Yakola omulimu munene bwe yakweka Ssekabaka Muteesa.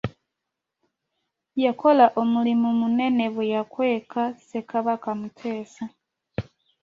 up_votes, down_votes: 2, 0